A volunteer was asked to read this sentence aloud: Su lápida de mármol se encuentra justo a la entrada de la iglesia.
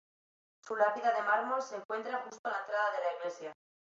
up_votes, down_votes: 2, 0